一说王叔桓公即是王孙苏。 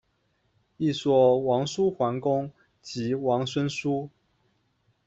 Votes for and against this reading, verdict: 1, 2, rejected